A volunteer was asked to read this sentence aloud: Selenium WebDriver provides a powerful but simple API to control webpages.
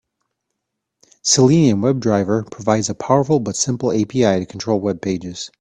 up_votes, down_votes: 2, 0